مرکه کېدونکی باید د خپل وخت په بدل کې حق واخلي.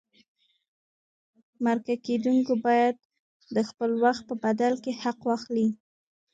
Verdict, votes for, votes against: accepted, 2, 1